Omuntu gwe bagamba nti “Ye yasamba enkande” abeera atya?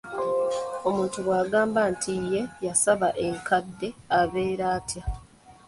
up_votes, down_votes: 0, 2